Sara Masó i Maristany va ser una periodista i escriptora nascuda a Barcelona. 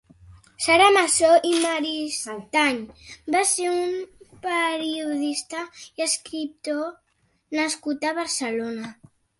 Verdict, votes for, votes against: rejected, 1, 2